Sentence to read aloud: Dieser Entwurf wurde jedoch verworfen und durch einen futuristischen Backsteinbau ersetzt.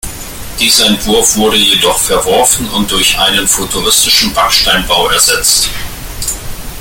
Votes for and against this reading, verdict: 1, 2, rejected